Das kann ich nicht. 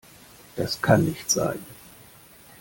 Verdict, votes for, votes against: rejected, 0, 2